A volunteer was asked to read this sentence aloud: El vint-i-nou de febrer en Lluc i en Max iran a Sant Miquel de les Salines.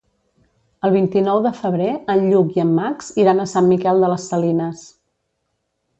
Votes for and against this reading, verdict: 2, 0, accepted